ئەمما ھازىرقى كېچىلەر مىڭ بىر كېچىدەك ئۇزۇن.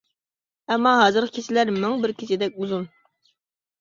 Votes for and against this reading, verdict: 1, 2, rejected